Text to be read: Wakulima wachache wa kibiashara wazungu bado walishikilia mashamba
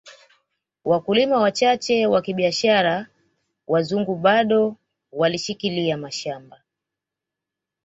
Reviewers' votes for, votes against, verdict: 2, 0, accepted